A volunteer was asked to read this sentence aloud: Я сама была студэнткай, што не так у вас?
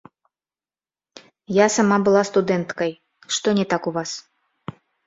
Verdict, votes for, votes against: accepted, 2, 1